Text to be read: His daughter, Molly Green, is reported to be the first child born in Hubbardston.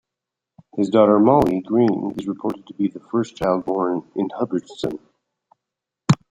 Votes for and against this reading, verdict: 1, 2, rejected